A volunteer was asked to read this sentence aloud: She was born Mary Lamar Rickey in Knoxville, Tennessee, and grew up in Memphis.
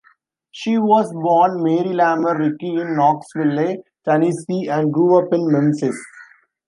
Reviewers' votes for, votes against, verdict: 0, 2, rejected